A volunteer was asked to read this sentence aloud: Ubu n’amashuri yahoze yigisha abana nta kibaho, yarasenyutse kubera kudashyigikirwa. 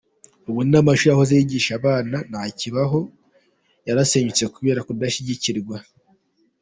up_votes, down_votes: 2, 0